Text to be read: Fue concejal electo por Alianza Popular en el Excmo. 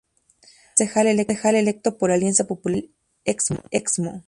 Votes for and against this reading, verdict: 2, 2, rejected